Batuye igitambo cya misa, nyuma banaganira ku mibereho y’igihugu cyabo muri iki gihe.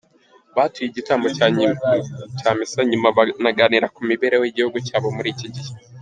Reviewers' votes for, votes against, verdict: 0, 4, rejected